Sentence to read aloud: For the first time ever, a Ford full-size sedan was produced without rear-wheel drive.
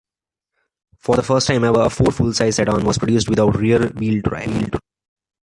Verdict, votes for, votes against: accepted, 2, 1